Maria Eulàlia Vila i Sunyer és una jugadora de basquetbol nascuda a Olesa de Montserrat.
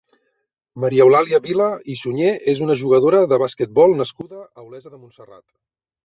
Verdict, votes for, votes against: accepted, 3, 0